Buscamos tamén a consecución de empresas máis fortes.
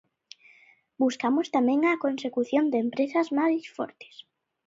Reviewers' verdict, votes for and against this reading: accepted, 2, 0